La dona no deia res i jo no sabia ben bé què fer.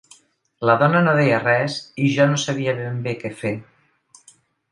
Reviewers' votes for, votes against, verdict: 3, 0, accepted